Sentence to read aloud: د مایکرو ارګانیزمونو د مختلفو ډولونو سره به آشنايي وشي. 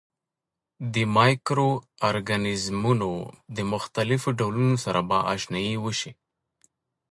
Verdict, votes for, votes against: accepted, 2, 0